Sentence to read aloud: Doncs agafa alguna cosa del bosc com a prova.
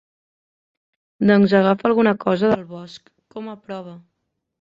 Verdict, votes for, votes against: rejected, 1, 2